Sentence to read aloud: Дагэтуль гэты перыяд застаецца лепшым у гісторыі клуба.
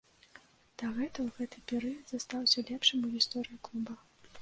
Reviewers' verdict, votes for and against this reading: rejected, 0, 2